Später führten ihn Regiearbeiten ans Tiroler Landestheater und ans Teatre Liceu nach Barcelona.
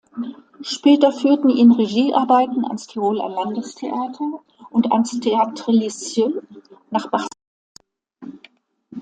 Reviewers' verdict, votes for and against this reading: rejected, 0, 2